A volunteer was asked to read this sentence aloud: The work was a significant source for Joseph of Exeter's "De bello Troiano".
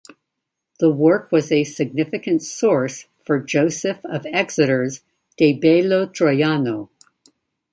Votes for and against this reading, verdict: 2, 0, accepted